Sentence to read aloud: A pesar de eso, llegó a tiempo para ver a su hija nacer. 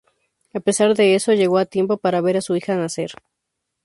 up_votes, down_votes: 2, 0